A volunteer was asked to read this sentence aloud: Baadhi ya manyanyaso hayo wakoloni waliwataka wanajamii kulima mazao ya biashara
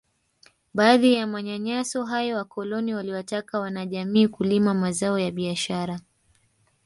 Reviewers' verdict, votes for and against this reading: rejected, 0, 2